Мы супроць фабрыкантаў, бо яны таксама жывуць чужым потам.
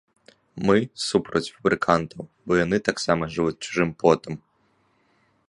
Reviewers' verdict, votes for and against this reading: rejected, 0, 2